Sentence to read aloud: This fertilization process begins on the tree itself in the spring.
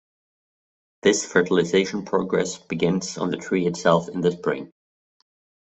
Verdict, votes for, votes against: rejected, 0, 2